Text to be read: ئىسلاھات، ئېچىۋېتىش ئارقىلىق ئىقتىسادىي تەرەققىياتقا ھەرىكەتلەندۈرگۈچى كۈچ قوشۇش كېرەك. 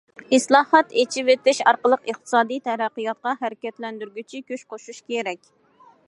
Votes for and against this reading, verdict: 2, 0, accepted